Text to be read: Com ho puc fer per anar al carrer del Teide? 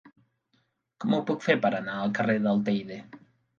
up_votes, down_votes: 3, 0